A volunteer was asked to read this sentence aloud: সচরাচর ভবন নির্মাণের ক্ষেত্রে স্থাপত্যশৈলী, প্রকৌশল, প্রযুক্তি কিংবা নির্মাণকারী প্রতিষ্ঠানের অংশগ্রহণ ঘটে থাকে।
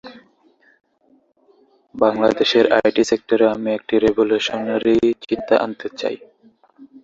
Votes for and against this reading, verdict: 0, 4, rejected